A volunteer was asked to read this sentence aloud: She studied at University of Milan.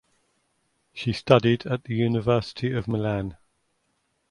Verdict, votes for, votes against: rejected, 1, 2